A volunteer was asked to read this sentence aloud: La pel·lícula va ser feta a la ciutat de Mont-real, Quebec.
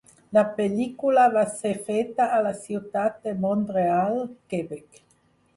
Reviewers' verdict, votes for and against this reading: accepted, 4, 0